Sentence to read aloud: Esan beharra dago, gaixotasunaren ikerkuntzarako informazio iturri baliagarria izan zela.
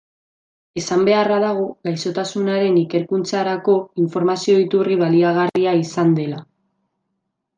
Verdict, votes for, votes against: rejected, 0, 2